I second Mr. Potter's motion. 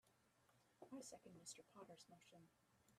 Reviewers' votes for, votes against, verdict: 1, 2, rejected